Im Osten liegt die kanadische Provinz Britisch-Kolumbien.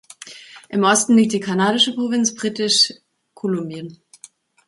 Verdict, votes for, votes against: rejected, 1, 2